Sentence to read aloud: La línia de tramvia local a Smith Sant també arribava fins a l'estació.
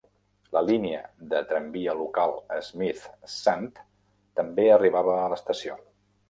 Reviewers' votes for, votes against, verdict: 0, 2, rejected